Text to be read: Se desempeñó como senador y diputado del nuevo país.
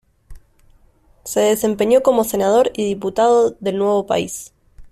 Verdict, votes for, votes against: accepted, 2, 0